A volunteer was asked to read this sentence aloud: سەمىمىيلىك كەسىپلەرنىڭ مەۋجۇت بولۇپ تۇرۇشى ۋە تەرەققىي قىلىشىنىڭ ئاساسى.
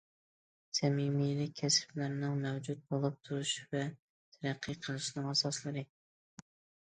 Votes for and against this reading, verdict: 0, 2, rejected